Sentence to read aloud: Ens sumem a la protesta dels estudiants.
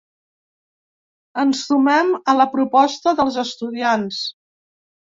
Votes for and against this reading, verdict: 0, 2, rejected